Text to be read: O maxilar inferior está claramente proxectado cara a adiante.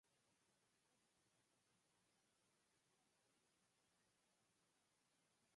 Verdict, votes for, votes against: rejected, 0, 4